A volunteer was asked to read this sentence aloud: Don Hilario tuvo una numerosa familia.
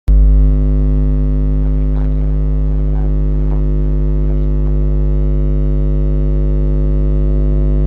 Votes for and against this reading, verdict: 0, 2, rejected